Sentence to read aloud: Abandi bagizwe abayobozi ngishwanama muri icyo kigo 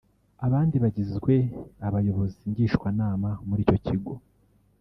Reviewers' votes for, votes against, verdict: 0, 2, rejected